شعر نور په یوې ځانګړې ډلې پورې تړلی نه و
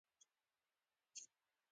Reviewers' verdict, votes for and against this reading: rejected, 0, 2